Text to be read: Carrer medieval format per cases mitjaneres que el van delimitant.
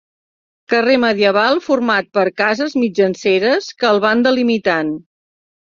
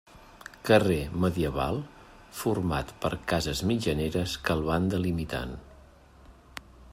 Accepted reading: second